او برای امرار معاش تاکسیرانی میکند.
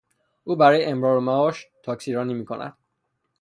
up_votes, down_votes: 3, 0